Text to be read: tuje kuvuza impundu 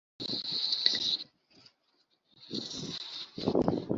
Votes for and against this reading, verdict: 1, 3, rejected